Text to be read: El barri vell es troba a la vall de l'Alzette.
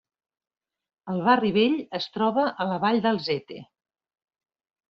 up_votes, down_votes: 0, 2